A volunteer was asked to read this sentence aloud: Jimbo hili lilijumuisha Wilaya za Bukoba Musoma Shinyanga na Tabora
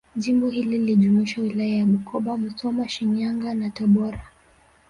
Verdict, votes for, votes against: accepted, 2, 1